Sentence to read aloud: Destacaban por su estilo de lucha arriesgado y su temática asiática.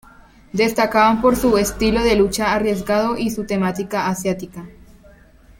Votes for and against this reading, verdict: 2, 0, accepted